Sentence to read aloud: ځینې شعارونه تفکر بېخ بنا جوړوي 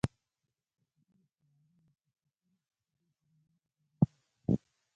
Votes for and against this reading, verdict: 0, 2, rejected